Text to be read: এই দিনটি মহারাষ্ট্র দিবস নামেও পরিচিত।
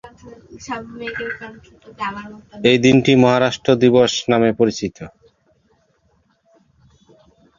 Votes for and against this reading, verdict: 1, 2, rejected